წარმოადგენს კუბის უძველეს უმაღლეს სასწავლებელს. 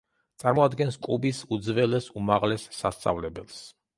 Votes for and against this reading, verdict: 2, 0, accepted